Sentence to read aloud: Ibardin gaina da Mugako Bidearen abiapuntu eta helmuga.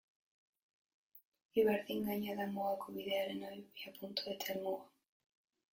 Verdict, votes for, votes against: rejected, 0, 2